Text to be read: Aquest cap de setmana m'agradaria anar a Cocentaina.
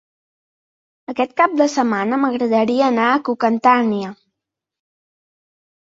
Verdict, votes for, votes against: rejected, 0, 2